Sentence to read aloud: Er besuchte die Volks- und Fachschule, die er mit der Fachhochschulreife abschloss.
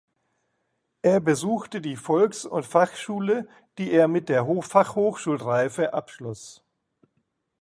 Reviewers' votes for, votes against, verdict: 0, 2, rejected